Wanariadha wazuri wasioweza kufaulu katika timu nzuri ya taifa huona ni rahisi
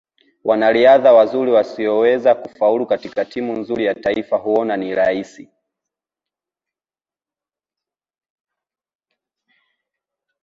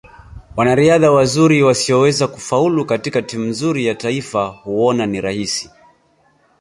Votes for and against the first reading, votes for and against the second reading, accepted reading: 0, 2, 2, 0, second